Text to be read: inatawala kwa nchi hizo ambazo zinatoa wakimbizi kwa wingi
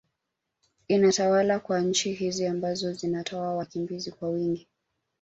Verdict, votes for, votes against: accepted, 2, 0